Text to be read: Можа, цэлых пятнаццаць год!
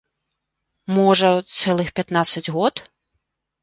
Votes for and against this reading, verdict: 0, 2, rejected